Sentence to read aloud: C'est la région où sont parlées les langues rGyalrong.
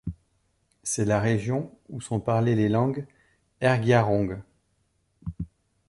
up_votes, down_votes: 2, 0